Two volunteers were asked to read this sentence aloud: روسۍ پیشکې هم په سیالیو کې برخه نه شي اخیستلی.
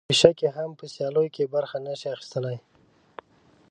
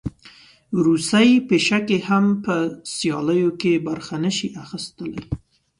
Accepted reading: second